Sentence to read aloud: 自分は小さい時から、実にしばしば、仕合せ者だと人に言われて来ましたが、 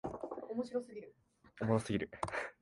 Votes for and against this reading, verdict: 0, 2, rejected